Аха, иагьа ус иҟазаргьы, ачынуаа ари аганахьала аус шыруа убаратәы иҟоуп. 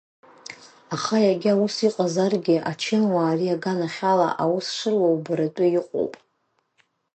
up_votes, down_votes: 2, 0